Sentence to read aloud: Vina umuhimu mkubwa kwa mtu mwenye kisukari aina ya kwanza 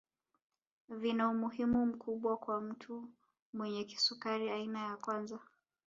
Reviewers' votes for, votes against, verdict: 2, 0, accepted